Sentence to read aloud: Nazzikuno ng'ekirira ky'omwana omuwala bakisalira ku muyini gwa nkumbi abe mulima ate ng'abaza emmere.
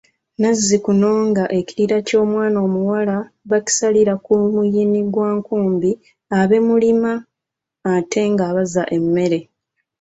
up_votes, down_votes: 2, 0